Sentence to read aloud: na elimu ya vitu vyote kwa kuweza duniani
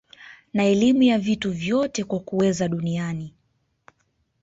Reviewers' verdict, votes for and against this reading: accepted, 3, 1